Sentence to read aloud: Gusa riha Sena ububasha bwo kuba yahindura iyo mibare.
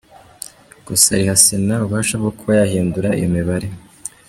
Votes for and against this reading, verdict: 2, 0, accepted